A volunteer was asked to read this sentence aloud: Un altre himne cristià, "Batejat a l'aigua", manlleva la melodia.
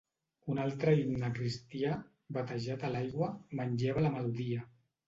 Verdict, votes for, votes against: accepted, 2, 1